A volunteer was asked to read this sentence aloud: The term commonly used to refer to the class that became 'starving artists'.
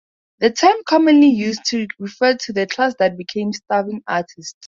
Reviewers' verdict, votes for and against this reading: rejected, 2, 2